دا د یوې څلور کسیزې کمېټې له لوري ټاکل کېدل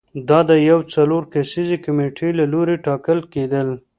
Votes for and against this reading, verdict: 3, 0, accepted